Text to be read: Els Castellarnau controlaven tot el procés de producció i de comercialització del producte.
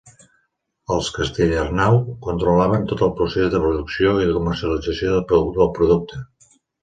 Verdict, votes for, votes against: rejected, 0, 2